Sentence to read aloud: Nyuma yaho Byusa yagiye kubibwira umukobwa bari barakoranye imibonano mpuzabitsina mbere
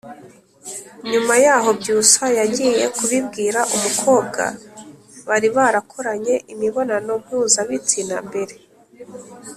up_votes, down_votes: 2, 0